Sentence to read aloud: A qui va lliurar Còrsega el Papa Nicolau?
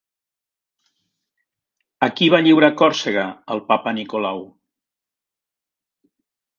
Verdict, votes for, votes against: accepted, 2, 0